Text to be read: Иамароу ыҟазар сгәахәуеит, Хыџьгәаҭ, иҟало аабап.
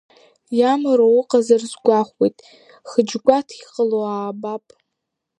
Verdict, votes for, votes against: accepted, 2, 0